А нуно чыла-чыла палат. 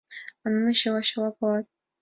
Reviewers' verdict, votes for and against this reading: accepted, 2, 1